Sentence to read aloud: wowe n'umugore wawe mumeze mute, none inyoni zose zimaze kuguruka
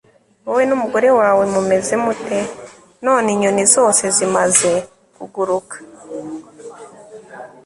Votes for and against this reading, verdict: 2, 0, accepted